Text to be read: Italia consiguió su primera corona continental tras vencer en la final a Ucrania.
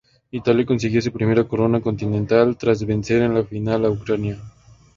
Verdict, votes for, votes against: accepted, 2, 0